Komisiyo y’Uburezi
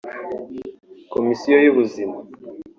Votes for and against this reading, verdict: 0, 3, rejected